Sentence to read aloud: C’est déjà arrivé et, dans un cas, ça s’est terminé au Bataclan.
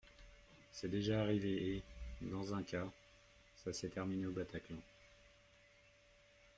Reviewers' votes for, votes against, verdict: 1, 2, rejected